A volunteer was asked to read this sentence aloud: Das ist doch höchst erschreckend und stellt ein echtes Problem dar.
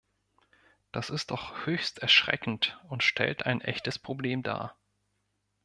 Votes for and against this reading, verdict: 2, 0, accepted